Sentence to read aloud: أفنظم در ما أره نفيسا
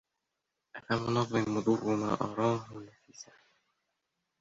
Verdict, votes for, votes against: rejected, 1, 2